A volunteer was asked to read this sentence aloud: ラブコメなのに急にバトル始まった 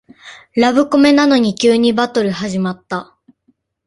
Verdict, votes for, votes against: accepted, 2, 0